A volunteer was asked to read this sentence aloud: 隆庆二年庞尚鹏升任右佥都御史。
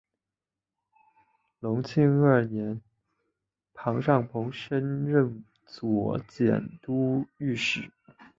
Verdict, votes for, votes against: accepted, 6, 2